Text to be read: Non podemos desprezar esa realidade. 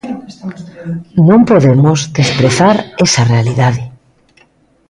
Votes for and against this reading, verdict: 1, 2, rejected